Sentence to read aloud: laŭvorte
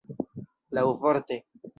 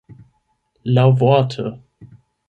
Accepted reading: first